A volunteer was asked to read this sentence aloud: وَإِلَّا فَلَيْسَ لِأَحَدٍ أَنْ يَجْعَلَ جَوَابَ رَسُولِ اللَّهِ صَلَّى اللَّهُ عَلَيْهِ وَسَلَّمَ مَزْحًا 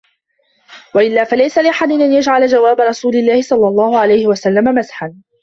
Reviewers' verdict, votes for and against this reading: rejected, 1, 2